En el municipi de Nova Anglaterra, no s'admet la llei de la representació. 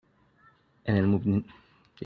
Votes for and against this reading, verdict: 0, 2, rejected